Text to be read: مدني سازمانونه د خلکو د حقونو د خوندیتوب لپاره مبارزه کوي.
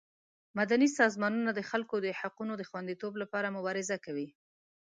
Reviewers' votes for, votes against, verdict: 2, 0, accepted